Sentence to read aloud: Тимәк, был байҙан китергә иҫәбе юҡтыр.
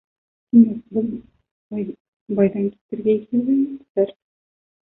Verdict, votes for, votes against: rejected, 0, 2